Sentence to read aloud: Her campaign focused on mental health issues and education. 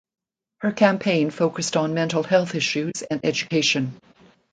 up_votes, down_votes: 2, 0